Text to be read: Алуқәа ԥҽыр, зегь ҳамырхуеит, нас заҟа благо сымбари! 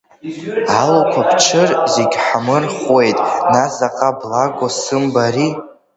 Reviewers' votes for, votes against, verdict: 2, 1, accepted